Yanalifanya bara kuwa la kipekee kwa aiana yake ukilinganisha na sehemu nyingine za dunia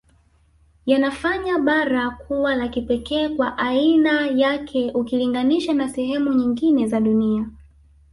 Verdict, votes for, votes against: rejected, 1, 3